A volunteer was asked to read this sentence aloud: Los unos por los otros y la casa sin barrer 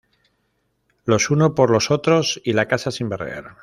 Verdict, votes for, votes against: accepted, 2, 0